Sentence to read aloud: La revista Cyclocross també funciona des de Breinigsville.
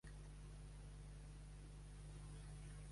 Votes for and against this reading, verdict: 0, 2, rejected